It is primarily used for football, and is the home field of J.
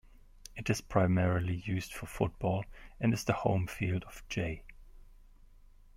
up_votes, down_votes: 2, 1